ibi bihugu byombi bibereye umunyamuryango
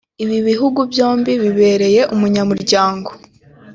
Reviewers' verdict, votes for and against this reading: accepted, 2, 1